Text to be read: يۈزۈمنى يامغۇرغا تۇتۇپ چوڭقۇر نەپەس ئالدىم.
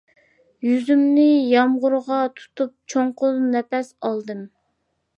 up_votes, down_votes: 2, 0